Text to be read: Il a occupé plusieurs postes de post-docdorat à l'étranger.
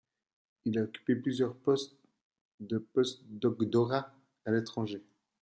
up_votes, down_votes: 1, 2